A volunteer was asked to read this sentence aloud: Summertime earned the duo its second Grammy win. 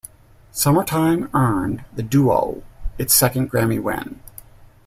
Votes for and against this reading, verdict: 2, 0, accepted